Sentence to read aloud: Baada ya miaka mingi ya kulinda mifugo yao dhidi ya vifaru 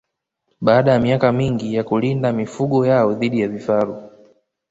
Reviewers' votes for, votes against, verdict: 2, 0, accepted